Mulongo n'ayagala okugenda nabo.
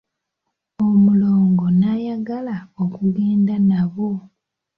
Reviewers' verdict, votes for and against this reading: accepted, 2, 1